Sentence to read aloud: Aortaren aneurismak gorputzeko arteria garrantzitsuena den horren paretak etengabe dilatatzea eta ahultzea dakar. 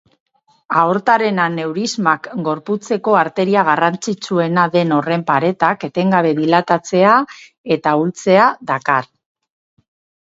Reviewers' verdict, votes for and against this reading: accepted, 4, 0